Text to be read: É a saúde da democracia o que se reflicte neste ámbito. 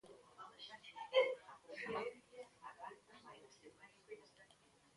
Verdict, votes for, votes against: rejected, 0, 2